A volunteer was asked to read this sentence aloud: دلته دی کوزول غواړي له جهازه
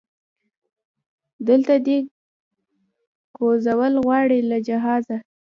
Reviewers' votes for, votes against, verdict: 0, 2, rejected